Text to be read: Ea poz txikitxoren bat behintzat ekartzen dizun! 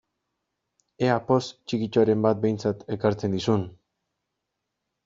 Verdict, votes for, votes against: accepted, 2, 0